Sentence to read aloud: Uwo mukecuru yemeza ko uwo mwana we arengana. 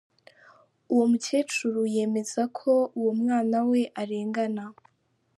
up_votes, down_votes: 2, 0